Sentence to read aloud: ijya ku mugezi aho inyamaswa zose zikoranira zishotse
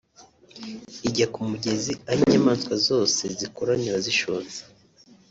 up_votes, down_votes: 2, 0